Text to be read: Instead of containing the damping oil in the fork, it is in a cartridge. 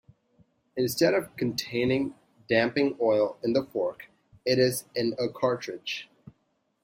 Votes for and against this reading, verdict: 1, 2, rejected